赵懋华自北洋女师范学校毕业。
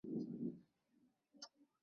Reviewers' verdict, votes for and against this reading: rejected, 0, 2